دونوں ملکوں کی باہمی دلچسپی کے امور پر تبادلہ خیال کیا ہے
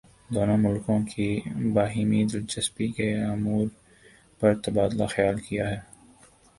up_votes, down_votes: 4, 7